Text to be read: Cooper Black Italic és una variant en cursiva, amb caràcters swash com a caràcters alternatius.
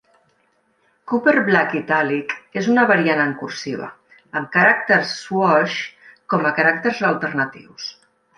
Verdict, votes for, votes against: accepted, 2, 0